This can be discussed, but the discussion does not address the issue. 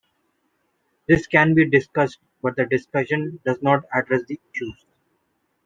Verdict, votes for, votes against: accepted, 2, 0